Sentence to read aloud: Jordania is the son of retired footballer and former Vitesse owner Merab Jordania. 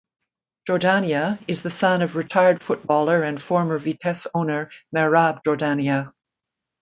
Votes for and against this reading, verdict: 2, 0, accepted